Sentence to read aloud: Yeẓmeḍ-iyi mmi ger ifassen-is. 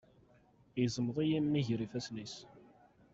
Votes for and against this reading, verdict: 2, 0, accepted